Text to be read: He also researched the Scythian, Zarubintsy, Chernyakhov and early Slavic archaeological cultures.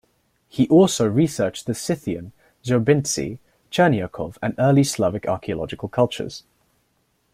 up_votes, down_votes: 2, 0